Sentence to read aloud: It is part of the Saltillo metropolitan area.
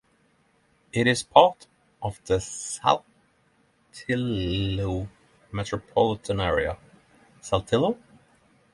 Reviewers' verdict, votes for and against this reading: rejected, 0, 6